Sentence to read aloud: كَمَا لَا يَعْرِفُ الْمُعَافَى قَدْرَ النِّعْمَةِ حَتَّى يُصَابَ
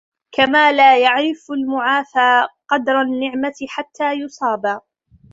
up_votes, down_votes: 3, 0